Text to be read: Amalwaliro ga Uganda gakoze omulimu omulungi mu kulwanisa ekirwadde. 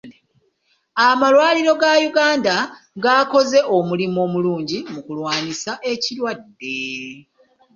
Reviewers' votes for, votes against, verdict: 1, 2, rejected